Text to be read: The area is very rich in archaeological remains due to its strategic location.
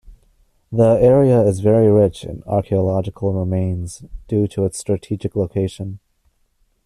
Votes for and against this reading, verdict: 2, 1, accepted